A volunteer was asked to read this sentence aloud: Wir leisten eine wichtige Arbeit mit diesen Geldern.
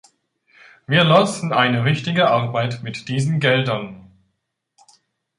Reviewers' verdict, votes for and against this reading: rejected, 1, 2